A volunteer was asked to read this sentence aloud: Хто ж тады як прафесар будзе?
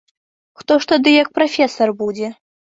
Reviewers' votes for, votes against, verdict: 2, 0, accepted